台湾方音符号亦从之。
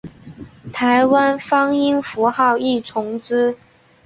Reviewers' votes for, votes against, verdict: 3, 1, accepted